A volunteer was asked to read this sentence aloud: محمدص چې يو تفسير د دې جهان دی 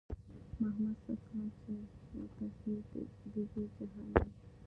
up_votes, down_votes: 1, 2